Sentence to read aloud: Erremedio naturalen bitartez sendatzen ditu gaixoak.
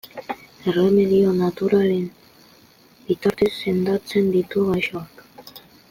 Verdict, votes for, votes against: rejected, 1, 2